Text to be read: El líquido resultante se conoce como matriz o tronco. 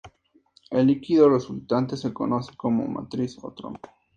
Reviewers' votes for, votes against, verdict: 2, 0, accepted